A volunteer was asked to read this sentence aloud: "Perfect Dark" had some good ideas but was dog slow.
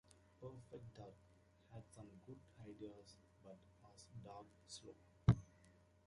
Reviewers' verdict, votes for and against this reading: accepted, 2, 1